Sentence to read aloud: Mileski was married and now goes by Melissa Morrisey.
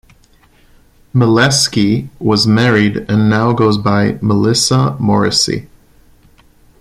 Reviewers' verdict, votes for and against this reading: accepted, 2, 0